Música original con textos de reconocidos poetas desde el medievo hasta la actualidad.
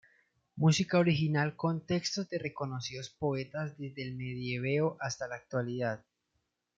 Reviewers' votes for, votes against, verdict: 1, 2, rejected